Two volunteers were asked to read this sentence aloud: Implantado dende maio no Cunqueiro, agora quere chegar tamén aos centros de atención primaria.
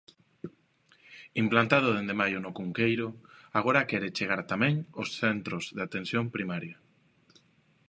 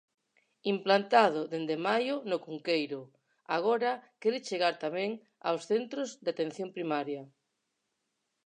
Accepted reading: first